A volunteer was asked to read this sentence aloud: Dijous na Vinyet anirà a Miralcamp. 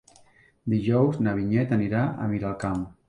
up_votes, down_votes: 3, 0